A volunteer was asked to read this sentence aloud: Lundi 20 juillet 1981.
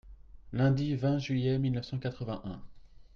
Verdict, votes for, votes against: rejected, 0, 2